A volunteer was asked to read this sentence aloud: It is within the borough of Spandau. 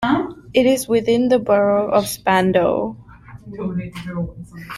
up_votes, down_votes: 1, 2